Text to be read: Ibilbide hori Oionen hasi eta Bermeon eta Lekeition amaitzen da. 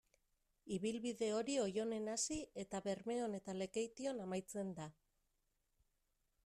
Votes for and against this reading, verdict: 2, 0, accepted